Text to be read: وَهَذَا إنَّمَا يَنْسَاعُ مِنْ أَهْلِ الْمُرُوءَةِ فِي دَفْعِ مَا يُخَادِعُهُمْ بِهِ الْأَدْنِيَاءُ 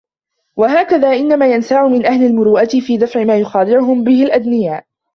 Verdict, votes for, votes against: rejected, 0, 2